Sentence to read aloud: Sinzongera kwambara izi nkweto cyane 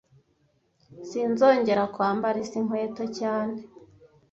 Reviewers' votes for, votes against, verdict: 2, 0, accepted